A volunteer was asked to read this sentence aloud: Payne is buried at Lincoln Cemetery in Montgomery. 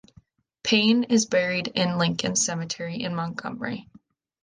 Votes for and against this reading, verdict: 1, 2, rejected